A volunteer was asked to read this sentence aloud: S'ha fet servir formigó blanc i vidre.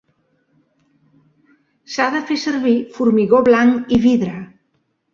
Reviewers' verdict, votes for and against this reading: rejected, 0, 2